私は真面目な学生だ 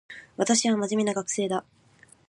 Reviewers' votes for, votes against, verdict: 2, 0, accepted